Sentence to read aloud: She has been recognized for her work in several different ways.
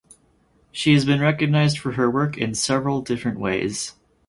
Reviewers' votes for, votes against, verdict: 4, 0, accepted